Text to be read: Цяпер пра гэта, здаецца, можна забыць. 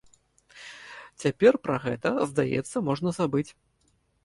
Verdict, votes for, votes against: accepted, 2, 0